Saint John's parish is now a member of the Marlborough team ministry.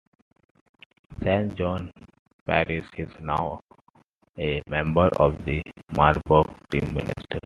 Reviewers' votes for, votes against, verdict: 1, 2, rejected